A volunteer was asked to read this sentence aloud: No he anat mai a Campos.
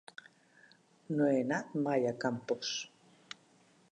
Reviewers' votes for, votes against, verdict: 3, 0, accepted